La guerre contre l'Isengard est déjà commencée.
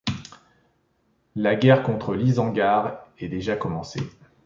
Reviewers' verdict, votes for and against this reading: accepted, 2, 0